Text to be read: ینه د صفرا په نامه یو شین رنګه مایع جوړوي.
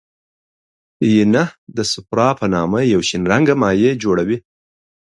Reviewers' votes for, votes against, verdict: 2, 0, accepted